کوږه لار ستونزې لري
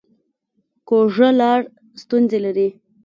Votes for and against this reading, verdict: 3, 1, accepted